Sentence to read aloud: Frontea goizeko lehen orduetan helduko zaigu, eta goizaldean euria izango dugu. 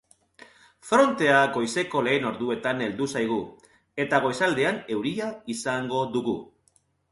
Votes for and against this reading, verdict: 1, 2, rejected